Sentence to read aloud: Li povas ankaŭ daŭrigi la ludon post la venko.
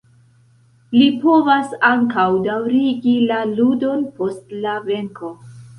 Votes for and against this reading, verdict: 2, 0, accepted